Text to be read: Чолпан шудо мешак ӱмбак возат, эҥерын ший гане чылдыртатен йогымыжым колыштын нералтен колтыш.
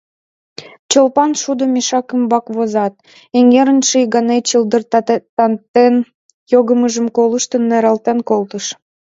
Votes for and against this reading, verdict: 0, 2, rejected